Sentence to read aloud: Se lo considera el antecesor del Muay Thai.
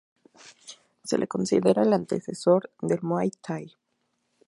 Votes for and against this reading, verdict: 2, 0, accepted